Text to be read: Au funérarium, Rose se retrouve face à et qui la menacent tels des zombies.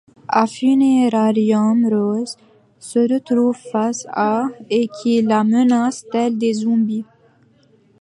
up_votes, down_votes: 1, 2